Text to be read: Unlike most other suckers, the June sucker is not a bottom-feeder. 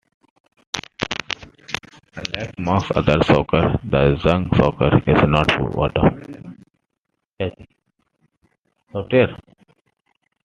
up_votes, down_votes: 0, 2